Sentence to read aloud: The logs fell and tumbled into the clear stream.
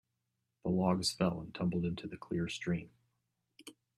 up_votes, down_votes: 2, 1